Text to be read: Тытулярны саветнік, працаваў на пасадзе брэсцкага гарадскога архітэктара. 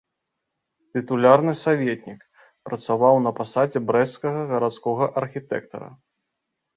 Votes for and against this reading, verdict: 2, 0, accepted